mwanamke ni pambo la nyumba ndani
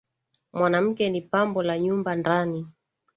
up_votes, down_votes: 2, 0